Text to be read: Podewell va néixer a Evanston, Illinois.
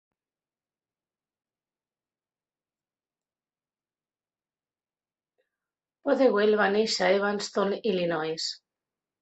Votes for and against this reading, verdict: 3, 1, accepted